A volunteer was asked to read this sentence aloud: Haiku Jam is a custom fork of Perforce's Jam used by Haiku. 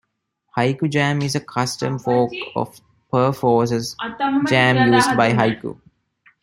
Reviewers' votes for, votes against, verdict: 0, 2, rejected